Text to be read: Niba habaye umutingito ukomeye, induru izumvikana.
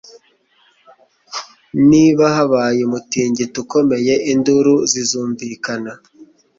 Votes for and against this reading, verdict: 1, 2, rejected